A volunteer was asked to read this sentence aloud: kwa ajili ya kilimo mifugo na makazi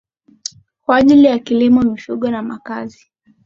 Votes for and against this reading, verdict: 4, 3, accepted